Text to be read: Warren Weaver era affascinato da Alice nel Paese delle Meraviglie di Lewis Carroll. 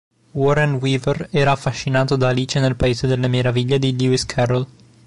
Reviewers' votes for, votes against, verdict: 3, 0, accepted